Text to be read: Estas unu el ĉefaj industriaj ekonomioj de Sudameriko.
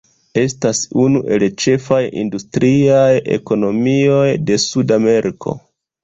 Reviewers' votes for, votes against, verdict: 0, 2, rejected